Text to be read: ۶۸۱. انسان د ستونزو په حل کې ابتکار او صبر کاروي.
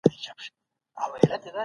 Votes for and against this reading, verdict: 0, 2, rejected